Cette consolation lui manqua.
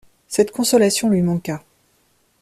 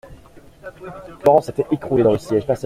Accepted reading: first